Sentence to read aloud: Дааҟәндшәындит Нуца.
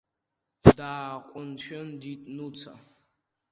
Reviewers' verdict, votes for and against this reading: rejected, 1, 2